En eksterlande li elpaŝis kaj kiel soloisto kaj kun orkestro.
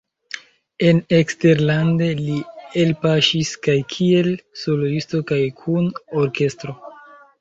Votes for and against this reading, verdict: 2, 1, accepted